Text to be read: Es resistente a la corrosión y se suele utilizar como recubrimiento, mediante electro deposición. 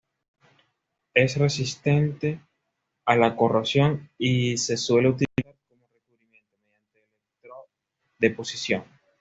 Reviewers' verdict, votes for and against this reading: rejected, 1, 2